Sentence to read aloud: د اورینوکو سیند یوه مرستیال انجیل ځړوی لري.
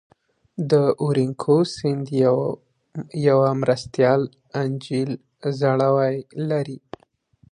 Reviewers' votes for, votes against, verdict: 0, 2, rejected